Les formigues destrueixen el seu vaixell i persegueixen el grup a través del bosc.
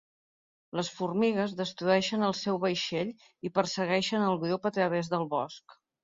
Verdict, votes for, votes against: rejected, 0, 2